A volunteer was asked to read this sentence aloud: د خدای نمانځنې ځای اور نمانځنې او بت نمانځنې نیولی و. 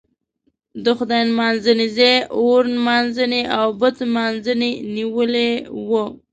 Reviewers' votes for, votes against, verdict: 2, 0, accepted